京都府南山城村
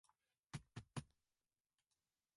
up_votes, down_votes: 0, 2